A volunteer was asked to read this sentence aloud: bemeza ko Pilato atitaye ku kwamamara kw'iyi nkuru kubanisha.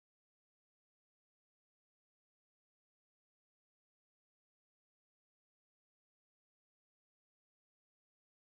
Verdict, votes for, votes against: rejected, 1, 2